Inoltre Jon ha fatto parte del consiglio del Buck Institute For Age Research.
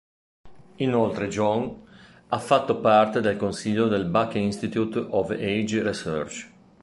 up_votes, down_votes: 0, 2